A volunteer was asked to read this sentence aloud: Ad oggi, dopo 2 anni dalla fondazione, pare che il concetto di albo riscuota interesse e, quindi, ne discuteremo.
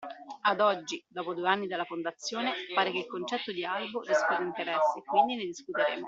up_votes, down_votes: 0, 2